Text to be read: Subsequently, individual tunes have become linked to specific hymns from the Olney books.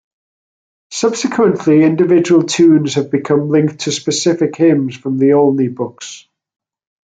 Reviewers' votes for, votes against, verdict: 1, 2, rejected